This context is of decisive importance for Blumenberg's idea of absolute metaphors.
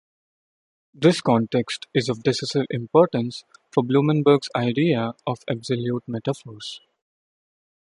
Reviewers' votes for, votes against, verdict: 0, 2, rejected